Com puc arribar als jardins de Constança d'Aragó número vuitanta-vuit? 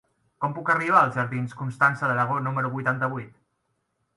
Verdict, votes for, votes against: rejected, 0, 2